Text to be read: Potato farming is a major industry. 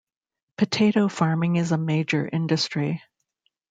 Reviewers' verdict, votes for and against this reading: accepted, 2, 0